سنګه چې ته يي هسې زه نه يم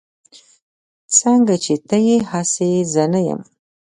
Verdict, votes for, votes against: accepted, 2, 0